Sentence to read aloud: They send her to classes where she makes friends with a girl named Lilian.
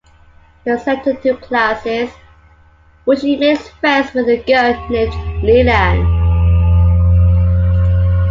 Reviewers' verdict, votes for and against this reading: rejected, 0, 2